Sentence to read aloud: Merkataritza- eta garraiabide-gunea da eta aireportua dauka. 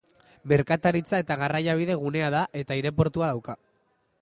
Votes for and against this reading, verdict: 2, 0, accepted